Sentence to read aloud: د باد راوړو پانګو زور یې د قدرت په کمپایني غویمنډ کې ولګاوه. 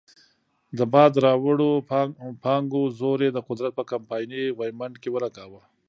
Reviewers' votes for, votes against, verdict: 2, 0, accepted